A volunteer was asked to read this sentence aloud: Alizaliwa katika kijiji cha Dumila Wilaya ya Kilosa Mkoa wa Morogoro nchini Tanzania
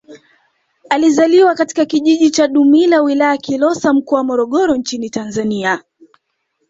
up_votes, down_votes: 2, 0